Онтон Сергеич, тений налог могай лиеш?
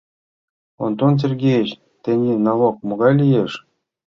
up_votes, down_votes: 2, 0